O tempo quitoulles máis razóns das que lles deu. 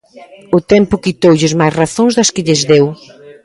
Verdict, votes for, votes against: accepted, 2, 0